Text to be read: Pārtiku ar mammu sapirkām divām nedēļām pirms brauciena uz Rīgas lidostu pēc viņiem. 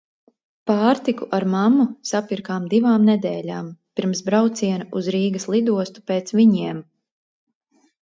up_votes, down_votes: 2, 0